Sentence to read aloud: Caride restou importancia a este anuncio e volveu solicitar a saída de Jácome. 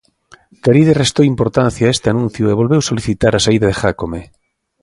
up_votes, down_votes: 2, 0